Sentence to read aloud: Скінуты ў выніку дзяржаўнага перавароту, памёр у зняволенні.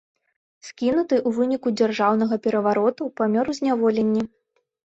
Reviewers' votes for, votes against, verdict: 2, 0, accepted